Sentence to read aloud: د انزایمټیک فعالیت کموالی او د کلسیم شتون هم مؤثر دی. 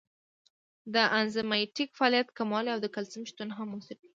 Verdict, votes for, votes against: accepted, 2, 0